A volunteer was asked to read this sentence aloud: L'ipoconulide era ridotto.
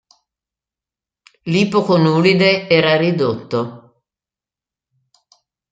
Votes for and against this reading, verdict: 2, 1, accepted